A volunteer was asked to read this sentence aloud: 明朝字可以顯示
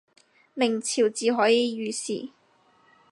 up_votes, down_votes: 0, 4